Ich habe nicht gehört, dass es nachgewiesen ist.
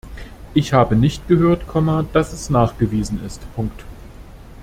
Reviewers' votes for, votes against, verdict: 1, 2, rejected